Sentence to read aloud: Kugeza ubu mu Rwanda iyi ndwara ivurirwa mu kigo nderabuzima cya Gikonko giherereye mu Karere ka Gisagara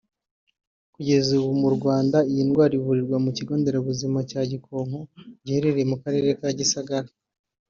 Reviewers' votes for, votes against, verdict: 5, 0, accepted